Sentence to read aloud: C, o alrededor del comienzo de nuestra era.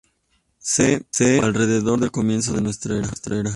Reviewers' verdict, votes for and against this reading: rejected, 0, 2